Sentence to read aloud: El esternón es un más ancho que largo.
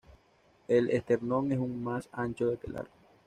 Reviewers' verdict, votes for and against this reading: rejected, 1, 2